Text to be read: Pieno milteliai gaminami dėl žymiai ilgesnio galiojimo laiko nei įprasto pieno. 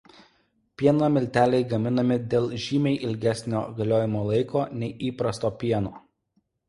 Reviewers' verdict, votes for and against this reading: accepted, 2, 0